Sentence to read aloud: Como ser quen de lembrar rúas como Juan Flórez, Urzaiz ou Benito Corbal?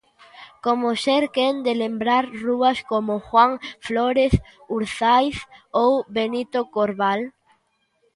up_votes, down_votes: 2, 0